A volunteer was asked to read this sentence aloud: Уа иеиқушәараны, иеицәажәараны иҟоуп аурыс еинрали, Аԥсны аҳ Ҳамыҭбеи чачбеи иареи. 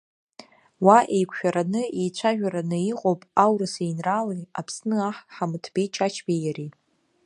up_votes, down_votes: 1, 2